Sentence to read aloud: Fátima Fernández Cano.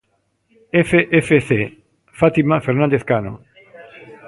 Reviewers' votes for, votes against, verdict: 0, 2, rejected